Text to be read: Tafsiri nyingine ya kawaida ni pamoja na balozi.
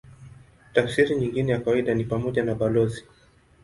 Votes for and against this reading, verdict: 2, 0, accepted